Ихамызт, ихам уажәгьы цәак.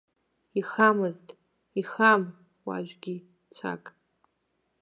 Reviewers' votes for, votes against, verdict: 0, 2, rejected